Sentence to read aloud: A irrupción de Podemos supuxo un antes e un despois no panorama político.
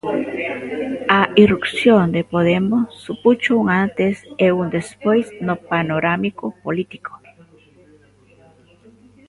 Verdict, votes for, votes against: rejected, 0, 2